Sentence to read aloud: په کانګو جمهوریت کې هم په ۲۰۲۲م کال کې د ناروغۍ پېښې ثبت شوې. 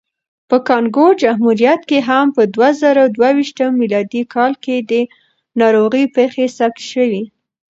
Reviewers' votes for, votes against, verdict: 0, 2, rejected